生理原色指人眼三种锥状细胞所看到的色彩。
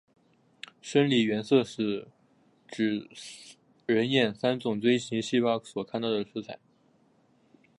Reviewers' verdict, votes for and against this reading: rejected, 1, 3